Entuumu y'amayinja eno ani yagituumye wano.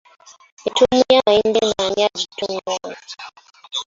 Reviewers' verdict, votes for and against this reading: rejected, 1, 2